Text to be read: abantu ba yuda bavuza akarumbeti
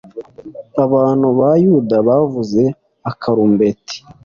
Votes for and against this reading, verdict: 2, 0, accepted